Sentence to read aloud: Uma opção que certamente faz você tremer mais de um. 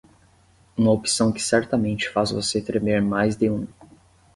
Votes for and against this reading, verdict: 10, 0, accepted